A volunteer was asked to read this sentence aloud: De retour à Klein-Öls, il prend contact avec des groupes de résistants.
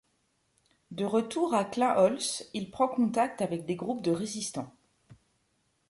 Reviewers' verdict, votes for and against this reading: rejected, 1, 2